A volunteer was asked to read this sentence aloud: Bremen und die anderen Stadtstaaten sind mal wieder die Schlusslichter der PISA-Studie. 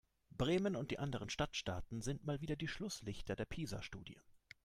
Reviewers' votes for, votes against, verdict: 3, 0, accepted